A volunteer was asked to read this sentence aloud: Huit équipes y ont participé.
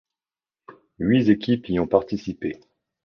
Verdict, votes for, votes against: rejected, 1, 2